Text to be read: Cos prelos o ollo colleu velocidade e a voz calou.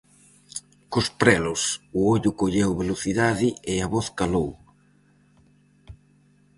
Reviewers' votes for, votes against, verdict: 4, 0, accepted